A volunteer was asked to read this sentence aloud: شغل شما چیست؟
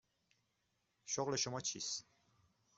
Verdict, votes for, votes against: accepted, 2, 0